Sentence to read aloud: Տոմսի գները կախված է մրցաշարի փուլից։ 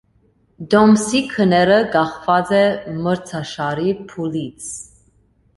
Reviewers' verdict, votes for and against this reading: accepted, 2, 0